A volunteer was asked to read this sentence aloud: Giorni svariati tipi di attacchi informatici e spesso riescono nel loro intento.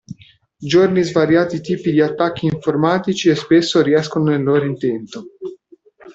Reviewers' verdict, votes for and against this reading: accepted, 2, 0